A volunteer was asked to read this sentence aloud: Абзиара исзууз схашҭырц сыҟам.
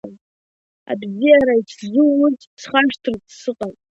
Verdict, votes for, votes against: rejected, 0, 2